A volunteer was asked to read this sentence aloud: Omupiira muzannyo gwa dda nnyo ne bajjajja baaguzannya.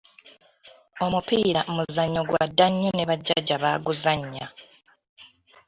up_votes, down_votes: 2, 0